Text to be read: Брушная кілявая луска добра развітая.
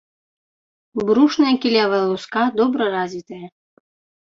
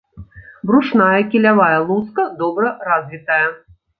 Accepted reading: second